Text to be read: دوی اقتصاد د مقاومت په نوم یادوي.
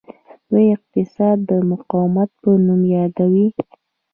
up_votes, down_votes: 1, 2